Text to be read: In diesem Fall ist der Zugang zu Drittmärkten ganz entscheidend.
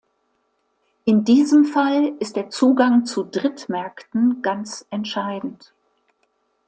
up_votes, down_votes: 2, 0